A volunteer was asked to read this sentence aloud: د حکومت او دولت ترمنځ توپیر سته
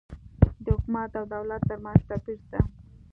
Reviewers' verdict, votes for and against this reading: accepted, 2, 0